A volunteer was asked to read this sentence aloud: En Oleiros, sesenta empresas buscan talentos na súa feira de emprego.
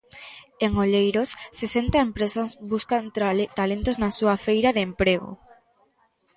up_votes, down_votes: 0, 2